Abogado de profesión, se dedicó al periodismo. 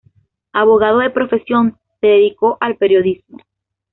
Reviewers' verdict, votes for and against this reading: accepted, 2, 0